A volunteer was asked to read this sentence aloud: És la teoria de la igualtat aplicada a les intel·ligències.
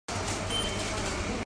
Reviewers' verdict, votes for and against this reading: rejected, 0, 2